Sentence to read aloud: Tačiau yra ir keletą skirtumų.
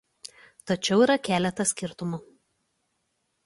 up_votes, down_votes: 1, 2